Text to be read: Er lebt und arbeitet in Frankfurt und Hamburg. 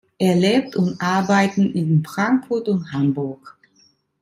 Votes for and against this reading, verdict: 0, 2, rejected